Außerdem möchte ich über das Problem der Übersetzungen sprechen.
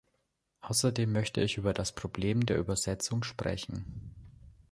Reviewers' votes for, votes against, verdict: 0, 2, rejected